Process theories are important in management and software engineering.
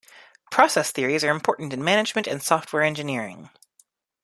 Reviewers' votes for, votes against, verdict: 1, 2, rejected